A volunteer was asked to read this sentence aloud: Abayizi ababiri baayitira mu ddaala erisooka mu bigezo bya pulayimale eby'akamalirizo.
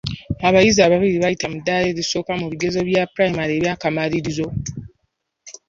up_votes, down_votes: 2, 0